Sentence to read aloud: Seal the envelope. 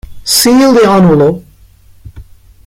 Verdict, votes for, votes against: accepted, 2, 1